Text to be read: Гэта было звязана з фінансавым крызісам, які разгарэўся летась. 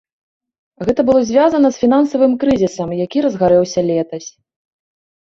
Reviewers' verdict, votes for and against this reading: accepted, 2, 0